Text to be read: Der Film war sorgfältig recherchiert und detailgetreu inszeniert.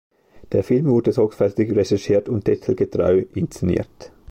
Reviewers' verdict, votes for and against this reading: rejected, 0, 2